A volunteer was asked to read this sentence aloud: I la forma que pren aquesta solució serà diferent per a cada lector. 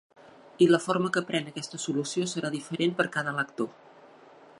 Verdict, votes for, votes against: rejected, 1, 2